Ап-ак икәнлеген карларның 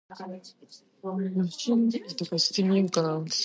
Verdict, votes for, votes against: rejected, 0, 2